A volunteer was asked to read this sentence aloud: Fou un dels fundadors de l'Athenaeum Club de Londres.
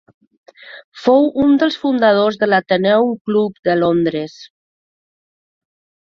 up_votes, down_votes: 2, 1